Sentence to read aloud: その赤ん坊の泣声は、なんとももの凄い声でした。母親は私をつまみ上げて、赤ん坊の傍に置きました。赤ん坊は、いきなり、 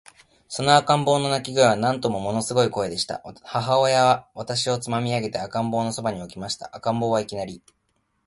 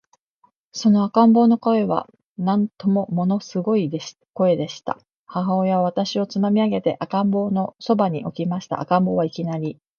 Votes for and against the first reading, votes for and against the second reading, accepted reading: 1, 2, 2, 1, second